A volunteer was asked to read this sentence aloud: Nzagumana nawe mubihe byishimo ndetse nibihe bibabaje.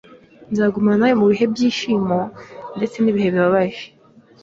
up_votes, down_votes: 3, 0